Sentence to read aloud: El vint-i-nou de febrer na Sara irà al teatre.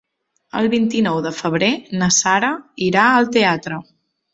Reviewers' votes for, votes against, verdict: 3, 0, accepted